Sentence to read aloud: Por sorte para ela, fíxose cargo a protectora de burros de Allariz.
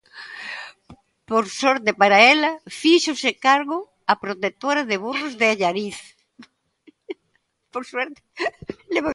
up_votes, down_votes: 0, 2